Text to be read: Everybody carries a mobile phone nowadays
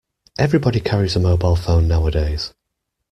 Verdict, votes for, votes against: accepted, 2, 0